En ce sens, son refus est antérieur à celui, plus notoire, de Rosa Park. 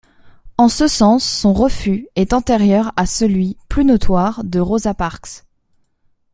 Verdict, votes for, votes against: rejected, 1, 2